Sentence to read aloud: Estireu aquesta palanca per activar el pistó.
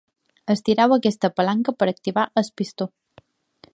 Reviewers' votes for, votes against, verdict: 1, 2, rejected